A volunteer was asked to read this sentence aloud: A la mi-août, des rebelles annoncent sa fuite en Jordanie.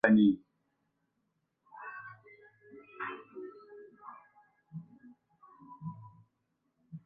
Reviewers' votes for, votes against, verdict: 0, 2, rejected